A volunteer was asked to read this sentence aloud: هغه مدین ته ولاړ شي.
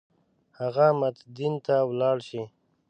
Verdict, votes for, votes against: rejected, 1, 2